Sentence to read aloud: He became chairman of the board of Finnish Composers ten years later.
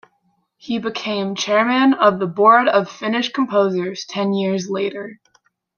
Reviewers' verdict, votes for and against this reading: accepted, 2, 0